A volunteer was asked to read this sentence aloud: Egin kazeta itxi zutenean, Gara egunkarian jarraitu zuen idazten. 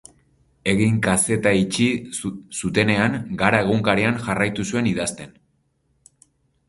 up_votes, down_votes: 0, 4